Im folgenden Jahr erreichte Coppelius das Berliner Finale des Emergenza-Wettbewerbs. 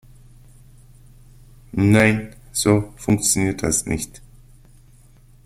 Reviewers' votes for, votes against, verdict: 0, 2, rejected